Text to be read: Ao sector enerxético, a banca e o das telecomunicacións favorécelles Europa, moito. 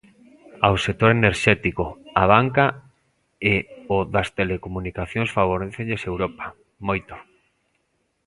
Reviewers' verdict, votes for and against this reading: accepted, 2, 0